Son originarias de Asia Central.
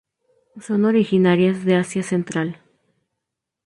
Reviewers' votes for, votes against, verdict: 2, 0, accepted